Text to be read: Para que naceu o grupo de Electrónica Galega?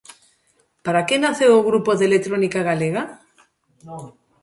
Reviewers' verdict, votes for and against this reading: rejected, 1, 2